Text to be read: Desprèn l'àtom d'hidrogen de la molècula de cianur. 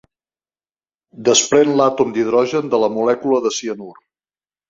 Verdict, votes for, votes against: accepted, 3, 0